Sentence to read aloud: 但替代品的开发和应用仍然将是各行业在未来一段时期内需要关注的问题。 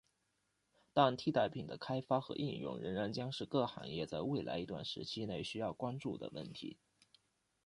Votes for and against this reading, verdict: 2, 0, accepted